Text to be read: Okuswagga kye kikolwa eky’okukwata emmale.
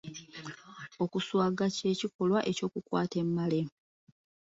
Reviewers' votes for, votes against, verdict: 0, 2, rejected